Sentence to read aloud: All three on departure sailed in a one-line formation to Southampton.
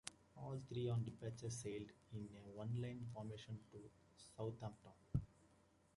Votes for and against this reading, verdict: 0, 2, rejected